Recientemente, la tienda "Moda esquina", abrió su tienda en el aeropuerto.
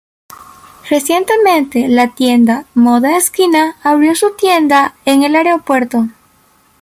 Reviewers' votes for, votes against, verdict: 2, 1, accepted